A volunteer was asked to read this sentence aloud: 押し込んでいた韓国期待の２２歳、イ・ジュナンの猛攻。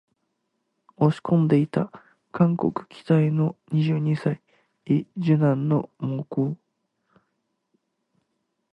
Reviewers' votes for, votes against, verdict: 0, 2, rejected